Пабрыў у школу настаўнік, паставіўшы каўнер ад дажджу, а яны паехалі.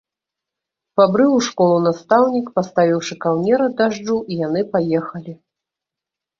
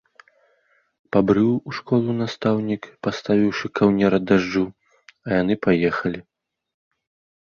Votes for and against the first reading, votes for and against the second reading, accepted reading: 0, 2, 2, 0, second